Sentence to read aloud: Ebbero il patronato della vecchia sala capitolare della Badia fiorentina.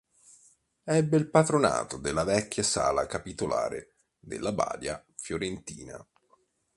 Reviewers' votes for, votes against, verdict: 1, 3, rejected